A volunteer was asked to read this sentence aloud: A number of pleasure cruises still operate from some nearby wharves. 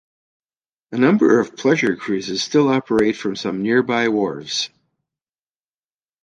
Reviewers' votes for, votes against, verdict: 2, 0, accepted